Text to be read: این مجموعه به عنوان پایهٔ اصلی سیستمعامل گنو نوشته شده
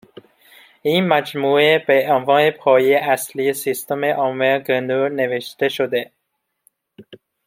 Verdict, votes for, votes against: accepted, 2, 0